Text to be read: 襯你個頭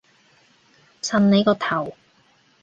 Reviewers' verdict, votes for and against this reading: accepted, 3, 0